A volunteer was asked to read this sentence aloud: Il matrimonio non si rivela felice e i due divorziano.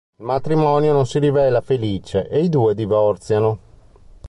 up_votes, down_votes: 1, 2